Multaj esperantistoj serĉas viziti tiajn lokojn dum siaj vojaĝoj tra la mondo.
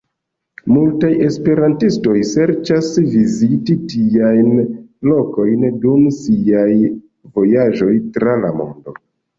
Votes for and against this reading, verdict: 2, 0, accepted